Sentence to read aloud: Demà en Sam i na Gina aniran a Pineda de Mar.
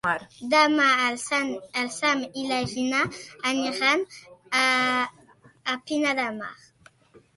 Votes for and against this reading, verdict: 0, 2, rejected